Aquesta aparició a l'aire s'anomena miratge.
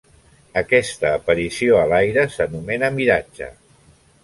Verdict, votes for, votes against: accepted, 3, 0